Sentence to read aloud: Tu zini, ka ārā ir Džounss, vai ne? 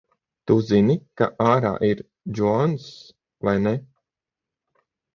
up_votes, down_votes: 3, 6